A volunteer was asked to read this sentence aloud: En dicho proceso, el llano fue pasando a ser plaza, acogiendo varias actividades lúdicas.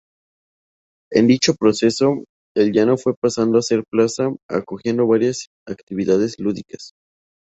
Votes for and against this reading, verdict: 2, 0, accepted